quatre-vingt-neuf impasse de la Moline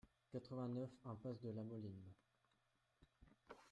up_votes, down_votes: 1, 2